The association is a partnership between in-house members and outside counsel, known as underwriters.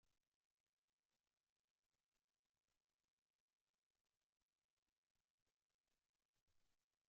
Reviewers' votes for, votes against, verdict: 0, 2, rejected